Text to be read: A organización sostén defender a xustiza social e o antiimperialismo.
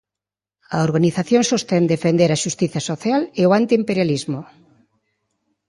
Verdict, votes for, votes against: accepted, 2, 0